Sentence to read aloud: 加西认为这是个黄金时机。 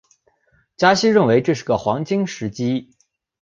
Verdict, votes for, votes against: accepted, 2, 0